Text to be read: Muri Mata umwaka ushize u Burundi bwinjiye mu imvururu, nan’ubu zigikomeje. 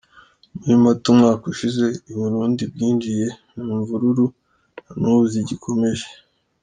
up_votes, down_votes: 2, 0